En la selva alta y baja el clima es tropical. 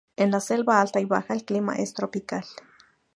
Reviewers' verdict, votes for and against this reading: accepted, 2, 0